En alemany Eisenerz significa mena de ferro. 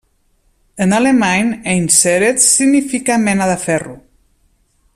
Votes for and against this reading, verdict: 1, 2, rejected